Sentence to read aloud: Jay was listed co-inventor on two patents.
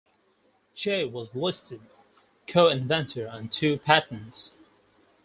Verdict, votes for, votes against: accepted, 4, 0